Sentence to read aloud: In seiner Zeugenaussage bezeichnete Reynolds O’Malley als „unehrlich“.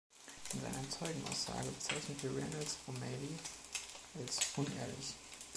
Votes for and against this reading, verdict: 2, 1, accepted